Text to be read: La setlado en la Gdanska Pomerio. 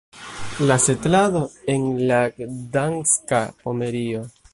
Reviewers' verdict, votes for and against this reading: rejected, 0, 2